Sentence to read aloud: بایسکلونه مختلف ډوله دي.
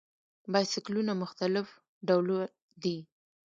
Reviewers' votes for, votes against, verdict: 0, 2, rejected